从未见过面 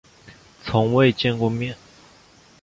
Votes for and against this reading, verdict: 2, 0, accepted